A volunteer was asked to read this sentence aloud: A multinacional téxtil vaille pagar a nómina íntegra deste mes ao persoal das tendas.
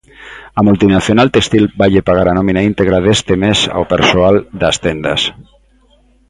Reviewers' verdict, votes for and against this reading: rejected, 1, 2